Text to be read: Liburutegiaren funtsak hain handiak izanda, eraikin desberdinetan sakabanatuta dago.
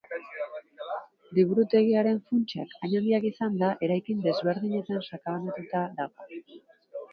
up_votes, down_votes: 2, 0